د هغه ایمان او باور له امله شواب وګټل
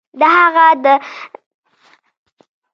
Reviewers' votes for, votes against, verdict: 1, 2, rejected